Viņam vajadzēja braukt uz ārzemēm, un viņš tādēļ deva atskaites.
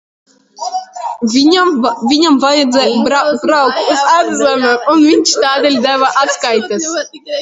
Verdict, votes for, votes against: rejected, 0, 2